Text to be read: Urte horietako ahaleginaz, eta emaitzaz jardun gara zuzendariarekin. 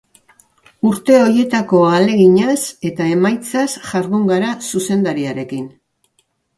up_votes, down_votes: 2, 0